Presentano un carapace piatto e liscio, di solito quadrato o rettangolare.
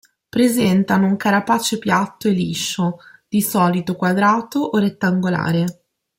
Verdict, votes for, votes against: accepted, 2, 0